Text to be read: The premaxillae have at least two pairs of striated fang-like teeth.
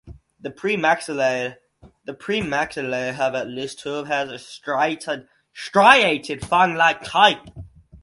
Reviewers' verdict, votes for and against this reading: rejected, 0, 4